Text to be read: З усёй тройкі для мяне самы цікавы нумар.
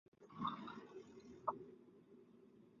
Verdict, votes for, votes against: rejected, 0, 2